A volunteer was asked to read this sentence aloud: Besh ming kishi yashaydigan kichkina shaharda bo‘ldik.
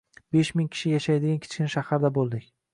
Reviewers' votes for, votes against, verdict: 2, 0, accepted